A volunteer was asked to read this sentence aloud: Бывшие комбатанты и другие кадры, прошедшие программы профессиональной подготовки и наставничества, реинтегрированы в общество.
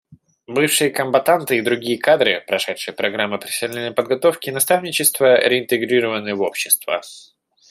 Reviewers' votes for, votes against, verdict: 3, 1, accepted